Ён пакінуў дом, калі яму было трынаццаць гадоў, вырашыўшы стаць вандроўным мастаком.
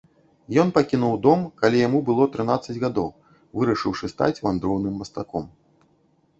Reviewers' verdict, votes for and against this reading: accepted, 2, 0